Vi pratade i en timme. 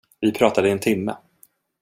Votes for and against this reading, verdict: 2, 0, accepted